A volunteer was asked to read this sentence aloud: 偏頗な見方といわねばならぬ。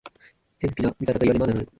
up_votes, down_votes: 0, 2